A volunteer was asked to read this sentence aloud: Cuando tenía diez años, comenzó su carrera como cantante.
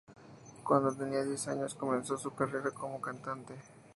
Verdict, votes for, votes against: accepted, 2, 0